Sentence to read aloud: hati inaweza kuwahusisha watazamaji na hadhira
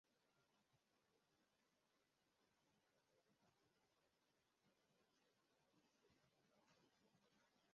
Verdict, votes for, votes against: rejected, 0, 2